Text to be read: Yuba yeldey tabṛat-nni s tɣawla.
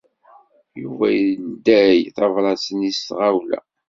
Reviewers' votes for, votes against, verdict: 1, 2, rejected